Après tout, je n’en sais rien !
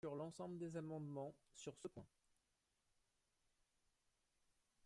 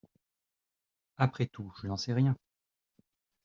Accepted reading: second